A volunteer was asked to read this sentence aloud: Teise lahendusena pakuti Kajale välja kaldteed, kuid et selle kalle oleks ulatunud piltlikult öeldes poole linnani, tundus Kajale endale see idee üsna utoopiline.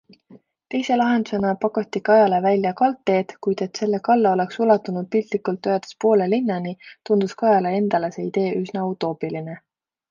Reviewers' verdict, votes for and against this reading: accepted, 2, 0